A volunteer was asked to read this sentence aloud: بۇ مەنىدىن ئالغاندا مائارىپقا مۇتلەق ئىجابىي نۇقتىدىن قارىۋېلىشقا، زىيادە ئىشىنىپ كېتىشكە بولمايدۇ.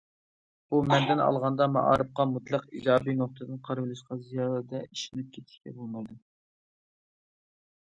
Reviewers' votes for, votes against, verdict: 1, 2, rejected